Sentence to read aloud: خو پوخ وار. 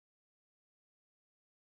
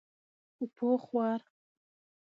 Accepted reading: second